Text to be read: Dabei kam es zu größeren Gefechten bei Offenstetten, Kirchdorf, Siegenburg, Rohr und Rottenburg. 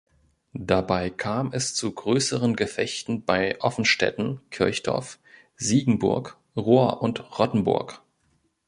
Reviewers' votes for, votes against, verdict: 2, 0, accepted